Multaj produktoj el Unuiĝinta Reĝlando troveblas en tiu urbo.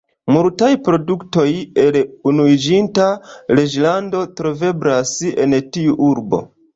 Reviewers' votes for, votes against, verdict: 2, 0, accepted